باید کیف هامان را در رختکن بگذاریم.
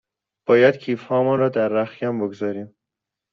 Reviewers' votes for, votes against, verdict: 2, 0, accepted